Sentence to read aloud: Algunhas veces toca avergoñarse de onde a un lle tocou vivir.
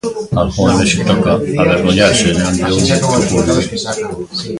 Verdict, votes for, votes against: rejected, 0, 2